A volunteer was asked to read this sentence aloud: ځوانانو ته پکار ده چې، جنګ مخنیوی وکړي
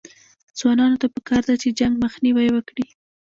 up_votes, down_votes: 1, 2